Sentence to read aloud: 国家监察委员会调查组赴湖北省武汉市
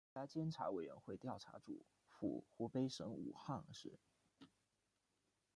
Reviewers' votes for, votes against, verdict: 0, 2, rejected